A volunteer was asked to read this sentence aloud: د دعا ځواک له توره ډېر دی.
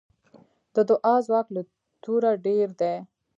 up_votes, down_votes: 1, 2